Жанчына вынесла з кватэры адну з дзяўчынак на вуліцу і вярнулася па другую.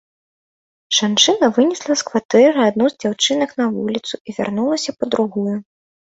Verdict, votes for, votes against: accepted, 2, 0